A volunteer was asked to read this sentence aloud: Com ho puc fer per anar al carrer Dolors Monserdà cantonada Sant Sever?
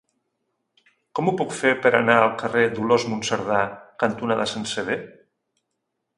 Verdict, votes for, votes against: accepted, 2, 0